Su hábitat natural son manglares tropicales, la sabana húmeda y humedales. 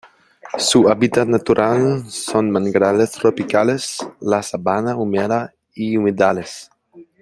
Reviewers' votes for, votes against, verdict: 2, 1, accepted